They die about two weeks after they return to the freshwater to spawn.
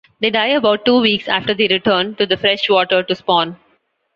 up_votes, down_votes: 2, 0